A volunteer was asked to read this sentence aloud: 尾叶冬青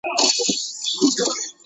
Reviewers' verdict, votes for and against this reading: rejected, 2, 4